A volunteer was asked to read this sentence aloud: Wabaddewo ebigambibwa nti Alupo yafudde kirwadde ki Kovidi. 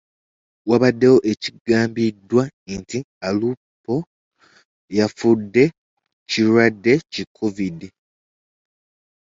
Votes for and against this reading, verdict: 0, 2, rejected